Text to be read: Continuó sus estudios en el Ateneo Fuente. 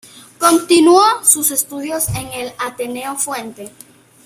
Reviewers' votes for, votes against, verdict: 2, 0, accepted